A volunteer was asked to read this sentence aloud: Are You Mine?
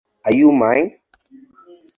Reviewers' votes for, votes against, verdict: 4, 0, accepted